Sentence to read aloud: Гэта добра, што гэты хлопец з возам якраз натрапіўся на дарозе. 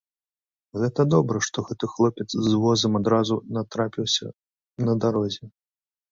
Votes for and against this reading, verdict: 1, 2, rejected